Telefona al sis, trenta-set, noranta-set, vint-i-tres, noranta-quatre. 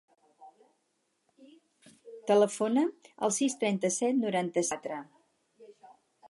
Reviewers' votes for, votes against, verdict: 0, 4, rejected